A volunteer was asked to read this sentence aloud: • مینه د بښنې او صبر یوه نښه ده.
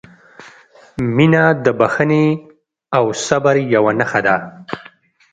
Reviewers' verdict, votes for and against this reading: accepted, 2, 0